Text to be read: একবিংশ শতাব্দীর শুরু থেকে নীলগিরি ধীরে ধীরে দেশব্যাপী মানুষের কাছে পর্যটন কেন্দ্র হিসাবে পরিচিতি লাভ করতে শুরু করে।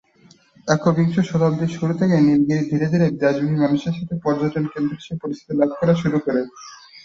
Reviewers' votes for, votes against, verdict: 1, 3, rejected